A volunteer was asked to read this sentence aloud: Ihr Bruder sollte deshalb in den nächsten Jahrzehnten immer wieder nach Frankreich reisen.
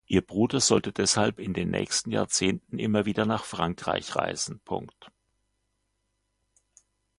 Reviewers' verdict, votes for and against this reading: accepted, 2, 0